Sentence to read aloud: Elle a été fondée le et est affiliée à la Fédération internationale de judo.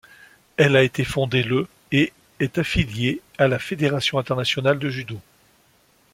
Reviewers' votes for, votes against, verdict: 2, 0, accepted